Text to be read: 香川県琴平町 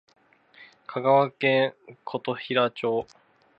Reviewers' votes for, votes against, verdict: 2, 0, accepted